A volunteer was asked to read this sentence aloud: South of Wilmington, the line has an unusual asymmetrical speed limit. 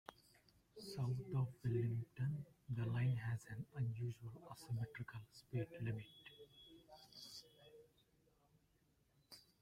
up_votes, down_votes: 1, 2